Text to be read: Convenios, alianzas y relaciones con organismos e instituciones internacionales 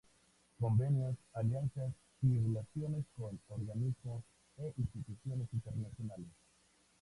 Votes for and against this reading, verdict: 2, 0, accepted